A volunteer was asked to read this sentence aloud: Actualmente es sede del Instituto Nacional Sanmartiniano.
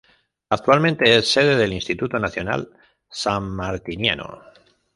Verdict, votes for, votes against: rejected, 1, 2